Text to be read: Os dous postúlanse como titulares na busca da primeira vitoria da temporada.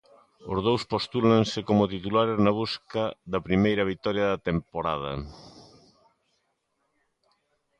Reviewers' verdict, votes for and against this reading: accepted, 2, 0